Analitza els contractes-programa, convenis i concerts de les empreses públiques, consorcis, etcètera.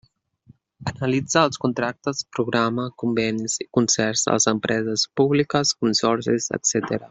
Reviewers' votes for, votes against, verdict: 2, 0, accepted